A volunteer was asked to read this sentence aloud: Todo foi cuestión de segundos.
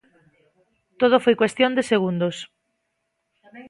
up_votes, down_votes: 2, 1